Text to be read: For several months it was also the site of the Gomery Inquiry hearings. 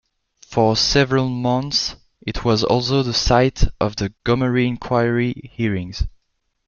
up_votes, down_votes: 2, 0